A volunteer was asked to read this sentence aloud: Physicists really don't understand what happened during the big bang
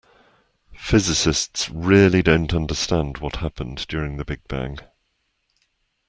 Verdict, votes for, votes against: accepted, 2, 0